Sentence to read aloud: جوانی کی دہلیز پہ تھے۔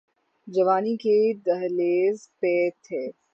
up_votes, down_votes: 15, 0